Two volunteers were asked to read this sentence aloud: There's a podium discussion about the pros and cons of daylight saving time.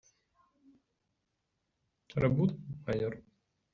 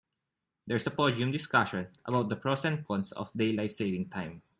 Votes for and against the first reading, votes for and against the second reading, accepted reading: 0, 2, 2, 0, second